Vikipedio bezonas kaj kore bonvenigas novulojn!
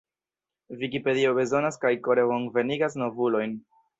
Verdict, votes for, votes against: accepted, 2, 1